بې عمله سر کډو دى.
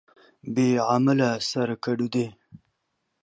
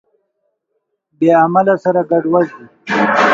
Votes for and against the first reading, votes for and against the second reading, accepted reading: 2, 0, 1, 2, first